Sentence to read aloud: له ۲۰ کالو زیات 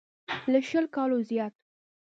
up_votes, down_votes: 0, 2